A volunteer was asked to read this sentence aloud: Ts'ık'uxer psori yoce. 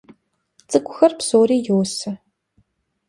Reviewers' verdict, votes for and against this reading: rejected, 1, 2